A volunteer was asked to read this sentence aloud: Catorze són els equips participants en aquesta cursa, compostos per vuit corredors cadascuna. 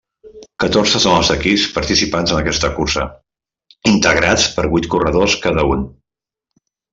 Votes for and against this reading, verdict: 0, 2, rejected